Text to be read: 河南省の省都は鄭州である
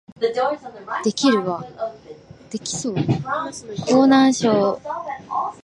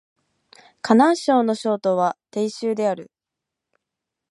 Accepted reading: second